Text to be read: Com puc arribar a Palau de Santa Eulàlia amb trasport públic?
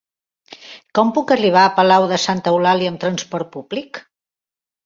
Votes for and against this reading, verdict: 4, 0, accepted